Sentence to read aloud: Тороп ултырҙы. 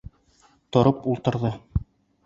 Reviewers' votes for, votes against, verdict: 3, 0, accepted